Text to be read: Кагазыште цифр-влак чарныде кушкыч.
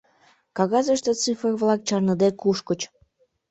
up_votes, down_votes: 2, 0